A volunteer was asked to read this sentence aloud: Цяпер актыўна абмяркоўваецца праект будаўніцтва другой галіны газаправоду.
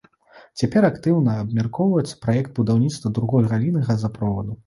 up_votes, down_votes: 0, 2